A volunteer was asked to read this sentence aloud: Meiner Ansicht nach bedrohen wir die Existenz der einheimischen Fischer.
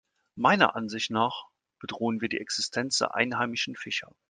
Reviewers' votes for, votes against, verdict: 2, 0, accepted